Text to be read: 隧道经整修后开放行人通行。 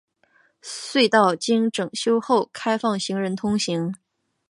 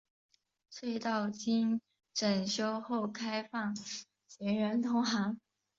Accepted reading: first